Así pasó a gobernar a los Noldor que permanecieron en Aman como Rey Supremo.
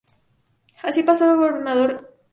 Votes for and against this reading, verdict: 0, 2, rejected